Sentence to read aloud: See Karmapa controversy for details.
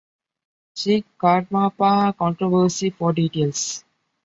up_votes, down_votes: 2, 0